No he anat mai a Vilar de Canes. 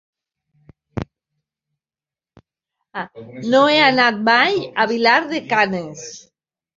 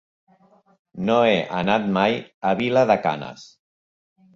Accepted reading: second